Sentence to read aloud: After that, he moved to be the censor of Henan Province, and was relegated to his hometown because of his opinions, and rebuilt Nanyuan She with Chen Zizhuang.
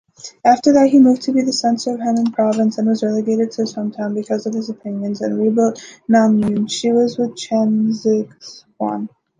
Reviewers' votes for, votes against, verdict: 2, 0, accepted